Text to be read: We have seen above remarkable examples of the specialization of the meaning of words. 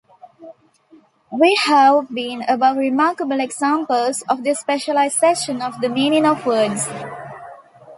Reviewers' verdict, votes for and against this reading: rejected, 1, 3